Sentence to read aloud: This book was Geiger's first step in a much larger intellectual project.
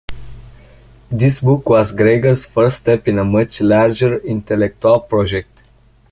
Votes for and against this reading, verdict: 0, 2, rejected